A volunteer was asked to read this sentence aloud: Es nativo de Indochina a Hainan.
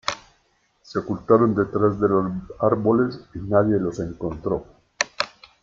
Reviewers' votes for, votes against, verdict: 0, 2, rejected